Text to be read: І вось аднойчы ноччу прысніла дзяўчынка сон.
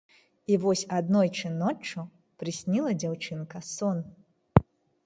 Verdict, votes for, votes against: accepted, 2, 0